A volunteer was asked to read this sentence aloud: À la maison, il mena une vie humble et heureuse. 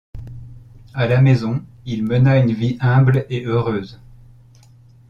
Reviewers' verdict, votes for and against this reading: accepted, 2, 0